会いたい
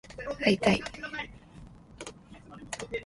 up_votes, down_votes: 2, 1